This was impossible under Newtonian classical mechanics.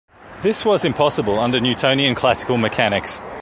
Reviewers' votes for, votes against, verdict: 2, 0, accepted